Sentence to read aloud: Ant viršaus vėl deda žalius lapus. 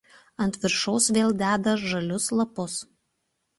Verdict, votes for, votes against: accepted, 2, 0